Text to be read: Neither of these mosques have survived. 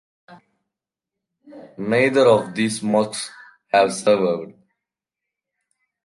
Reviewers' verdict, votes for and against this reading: rejected, 1, 2